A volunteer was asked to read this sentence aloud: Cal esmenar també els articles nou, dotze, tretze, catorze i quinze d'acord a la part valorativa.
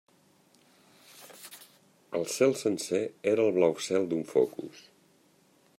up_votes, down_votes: 0, 2